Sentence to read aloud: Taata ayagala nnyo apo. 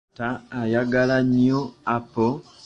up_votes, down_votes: 2, 0